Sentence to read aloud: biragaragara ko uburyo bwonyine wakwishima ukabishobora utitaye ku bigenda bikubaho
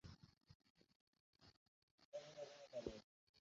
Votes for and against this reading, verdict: 0, 2, rejected